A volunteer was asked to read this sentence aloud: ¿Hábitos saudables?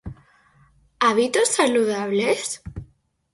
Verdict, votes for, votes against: rejected, 0, 4